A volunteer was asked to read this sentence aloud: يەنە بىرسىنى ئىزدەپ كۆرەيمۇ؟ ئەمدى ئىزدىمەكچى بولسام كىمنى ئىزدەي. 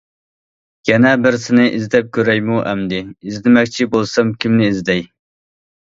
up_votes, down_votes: 2, 0